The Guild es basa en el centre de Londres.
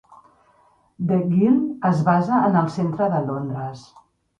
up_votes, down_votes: 3, 0